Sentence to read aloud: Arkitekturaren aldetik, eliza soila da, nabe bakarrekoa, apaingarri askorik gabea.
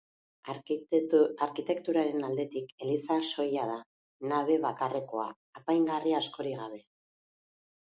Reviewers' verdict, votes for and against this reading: rejected, 0, 2